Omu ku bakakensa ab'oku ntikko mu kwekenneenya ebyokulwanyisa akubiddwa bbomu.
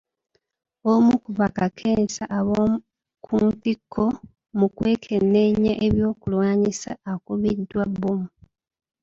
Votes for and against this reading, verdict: 1, 2, rejected